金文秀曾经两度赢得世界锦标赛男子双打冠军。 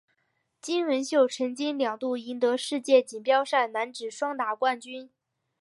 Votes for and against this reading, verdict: 2, 3, rejected